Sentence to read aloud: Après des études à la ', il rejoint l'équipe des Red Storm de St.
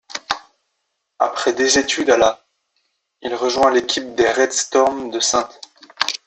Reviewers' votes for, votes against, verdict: 0, 2, rejected